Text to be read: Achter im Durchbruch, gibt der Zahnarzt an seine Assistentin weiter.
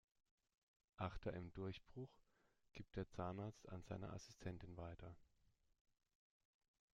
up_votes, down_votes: 2, 0